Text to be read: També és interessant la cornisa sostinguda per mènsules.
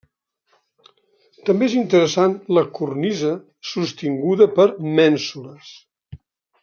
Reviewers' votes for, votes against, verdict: 3, 0, accepted